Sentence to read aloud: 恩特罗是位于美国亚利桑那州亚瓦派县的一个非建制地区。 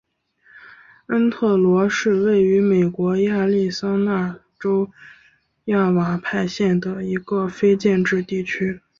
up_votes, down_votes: 2, 0